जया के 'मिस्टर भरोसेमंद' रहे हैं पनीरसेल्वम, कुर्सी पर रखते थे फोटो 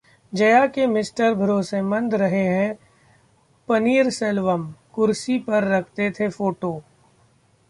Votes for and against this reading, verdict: 2, 0, accepted